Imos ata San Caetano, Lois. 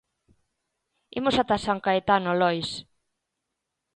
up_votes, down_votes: 2, 0